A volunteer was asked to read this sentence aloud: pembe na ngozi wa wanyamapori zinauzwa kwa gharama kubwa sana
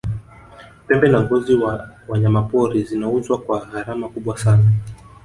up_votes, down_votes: 1, 3